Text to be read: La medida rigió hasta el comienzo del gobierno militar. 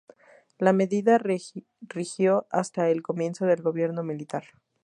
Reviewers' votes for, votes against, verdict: 2, 0, accepted